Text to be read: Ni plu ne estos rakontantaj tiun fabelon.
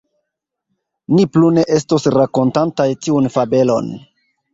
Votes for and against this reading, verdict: 1, 2, rejected